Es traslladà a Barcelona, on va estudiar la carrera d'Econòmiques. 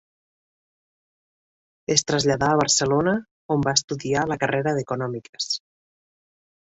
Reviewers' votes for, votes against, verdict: 3, 0, accepted